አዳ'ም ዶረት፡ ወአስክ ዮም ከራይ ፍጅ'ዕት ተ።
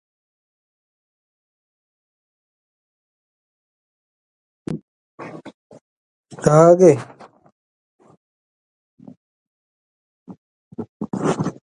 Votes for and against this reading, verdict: 1, 2, rejected